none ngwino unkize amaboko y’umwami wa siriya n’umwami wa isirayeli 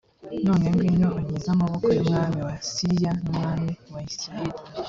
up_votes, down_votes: 2, 0